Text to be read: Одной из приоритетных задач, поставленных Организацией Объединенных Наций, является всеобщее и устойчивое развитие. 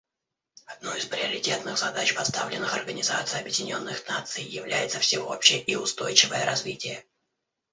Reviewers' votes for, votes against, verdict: 1, 2, rejected